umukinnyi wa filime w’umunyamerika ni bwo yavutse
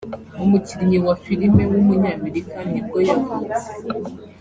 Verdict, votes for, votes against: accepted, 3, 0